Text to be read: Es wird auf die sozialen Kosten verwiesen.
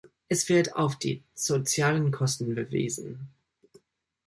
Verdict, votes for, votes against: accepted, 2, 0